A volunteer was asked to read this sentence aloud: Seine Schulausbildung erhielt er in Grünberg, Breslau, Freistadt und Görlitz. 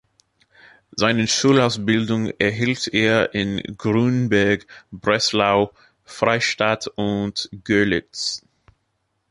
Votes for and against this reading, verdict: 2, 1, accepted